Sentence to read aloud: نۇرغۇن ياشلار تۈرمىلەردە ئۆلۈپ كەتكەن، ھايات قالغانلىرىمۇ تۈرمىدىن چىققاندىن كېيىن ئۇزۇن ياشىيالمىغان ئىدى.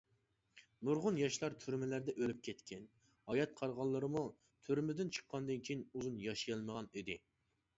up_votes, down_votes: 2, 0